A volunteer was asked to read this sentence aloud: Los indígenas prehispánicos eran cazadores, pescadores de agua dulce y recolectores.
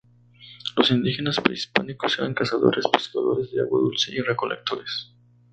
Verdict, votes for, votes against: accepted, 2, 0